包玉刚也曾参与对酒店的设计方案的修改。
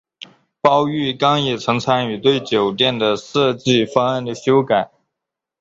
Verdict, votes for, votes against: accepted, 7, 0